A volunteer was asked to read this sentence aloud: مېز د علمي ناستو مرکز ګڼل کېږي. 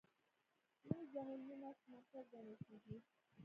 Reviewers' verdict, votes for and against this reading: rejected, 1, 2